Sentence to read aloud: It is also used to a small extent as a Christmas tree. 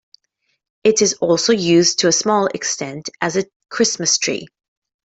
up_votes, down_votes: 2, 0